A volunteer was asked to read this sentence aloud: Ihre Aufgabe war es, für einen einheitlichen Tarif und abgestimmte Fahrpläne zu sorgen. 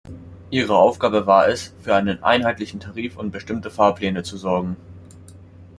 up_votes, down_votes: 2, 1